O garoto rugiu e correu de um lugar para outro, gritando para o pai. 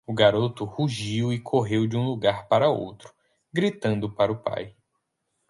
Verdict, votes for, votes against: accepted, 4, 0